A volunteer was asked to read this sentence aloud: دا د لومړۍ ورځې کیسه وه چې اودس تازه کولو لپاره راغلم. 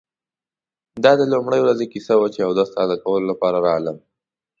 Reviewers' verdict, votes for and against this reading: accepted, 2, 0